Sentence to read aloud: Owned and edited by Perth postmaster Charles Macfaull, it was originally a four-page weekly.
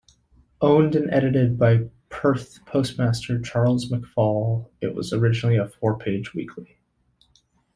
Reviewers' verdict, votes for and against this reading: rejected, 0, 2